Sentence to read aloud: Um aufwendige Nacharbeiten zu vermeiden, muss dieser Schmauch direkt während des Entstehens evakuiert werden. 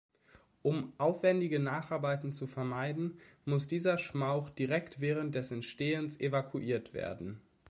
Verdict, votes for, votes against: accepted, 2, 0